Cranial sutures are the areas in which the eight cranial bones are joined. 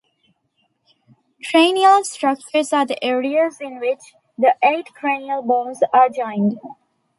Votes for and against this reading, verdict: 0, 2, rejected